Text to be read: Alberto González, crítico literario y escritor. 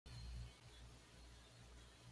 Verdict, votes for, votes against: rejected, 1, 2